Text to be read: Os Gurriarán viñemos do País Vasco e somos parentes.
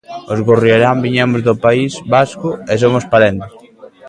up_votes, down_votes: 1, 2